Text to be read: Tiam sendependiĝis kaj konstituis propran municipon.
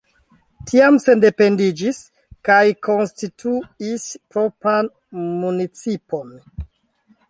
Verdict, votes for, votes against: rejected, 0, 3